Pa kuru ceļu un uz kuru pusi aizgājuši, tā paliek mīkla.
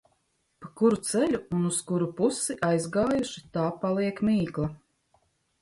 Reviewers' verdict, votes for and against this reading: accepted, 2, 0